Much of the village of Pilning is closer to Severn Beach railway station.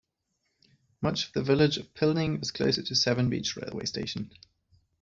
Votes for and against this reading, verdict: 0, 2, rejected